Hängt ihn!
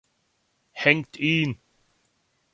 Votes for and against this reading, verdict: 2, 0, accepted